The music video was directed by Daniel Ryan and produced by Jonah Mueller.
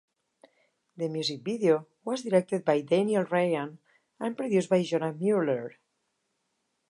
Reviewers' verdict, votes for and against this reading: accepted, 4, 0